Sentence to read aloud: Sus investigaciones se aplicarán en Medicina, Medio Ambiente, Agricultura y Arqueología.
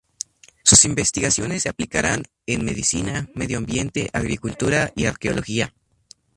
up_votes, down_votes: 2, 0